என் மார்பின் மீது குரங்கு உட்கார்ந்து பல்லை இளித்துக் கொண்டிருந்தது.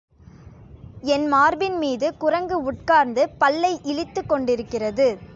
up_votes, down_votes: 0, 2